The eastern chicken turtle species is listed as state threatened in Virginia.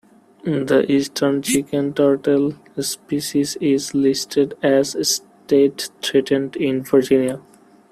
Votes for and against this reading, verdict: 1, 2, rejected